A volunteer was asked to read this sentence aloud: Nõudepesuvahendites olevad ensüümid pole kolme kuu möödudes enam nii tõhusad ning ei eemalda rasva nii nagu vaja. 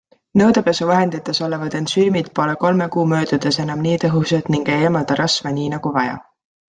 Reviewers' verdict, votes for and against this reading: accepted, 2, 0